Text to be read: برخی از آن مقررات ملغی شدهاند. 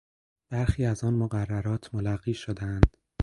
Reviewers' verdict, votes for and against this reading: rejected, 2, 4